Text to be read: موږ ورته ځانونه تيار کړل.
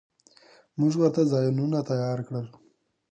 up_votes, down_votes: 1, 2